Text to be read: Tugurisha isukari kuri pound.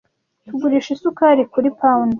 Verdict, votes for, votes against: accepted, 2, 0